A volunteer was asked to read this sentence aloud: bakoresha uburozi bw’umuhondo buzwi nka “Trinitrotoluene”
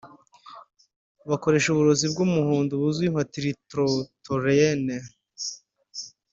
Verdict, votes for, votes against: rejected, 1, 2